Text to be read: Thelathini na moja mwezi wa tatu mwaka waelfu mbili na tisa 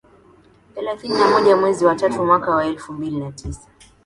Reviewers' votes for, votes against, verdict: 2, 0, accepted